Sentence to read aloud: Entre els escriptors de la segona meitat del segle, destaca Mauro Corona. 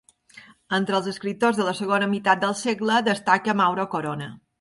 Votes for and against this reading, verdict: 2, 0, accepted